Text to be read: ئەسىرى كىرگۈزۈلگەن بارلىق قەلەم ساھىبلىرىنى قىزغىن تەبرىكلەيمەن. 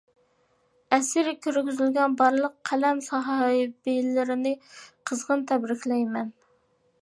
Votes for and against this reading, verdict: 0, 2, rejected